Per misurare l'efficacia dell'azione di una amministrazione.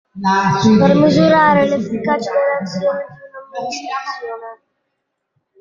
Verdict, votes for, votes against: rejected, 0, 2